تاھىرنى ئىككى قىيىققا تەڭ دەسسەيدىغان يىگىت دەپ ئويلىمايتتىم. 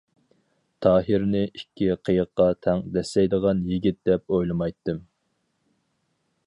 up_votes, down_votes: 4, 0